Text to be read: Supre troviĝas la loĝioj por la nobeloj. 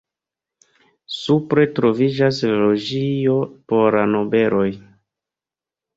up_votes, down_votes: 0, 2